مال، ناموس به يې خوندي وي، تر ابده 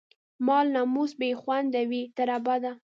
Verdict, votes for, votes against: rejected, 1, 2